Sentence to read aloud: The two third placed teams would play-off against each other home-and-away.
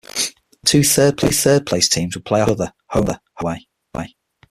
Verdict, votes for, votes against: rejected, 0, 6